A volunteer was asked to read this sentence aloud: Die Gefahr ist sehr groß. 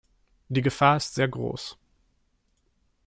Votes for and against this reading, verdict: 3, 0, accepted